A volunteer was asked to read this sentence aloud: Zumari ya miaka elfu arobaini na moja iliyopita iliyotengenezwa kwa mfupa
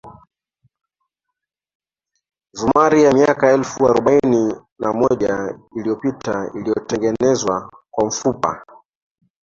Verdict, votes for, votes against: accepted, 2, 0